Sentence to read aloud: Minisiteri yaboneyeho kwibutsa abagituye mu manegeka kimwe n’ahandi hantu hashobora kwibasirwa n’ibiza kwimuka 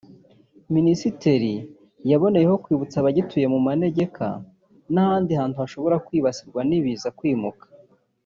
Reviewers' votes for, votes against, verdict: 3, 2, accepted